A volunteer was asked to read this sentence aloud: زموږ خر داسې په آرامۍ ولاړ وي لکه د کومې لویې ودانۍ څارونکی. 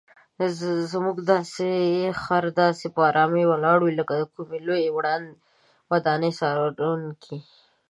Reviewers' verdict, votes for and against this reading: rejected, 1, 2